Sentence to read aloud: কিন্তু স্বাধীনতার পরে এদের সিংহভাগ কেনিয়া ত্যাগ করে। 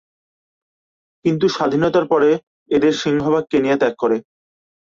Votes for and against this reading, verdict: 11, 4, accepted